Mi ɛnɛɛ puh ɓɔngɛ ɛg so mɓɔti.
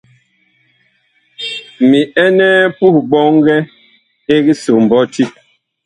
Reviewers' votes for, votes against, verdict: 0, 2, rejected